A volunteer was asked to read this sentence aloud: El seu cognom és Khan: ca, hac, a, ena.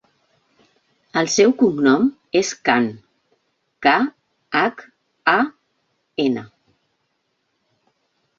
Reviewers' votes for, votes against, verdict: 2, 0, accepted